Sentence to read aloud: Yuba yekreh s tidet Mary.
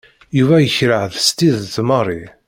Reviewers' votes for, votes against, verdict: 1, 2, rejected